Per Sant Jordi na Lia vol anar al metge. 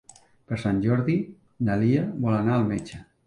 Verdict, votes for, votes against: accepted, 3, 0